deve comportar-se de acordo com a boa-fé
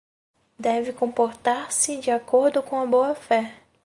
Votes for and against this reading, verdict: 2, 2, rejected